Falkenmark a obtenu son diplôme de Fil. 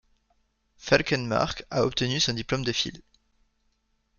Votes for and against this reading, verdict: 2, 0, accepted